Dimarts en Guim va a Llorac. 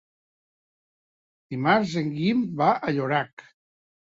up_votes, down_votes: 4, 0